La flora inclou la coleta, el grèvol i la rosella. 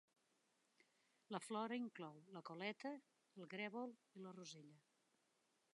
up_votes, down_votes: 2, 1